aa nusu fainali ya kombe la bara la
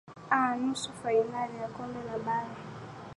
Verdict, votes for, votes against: accepted, 2, 0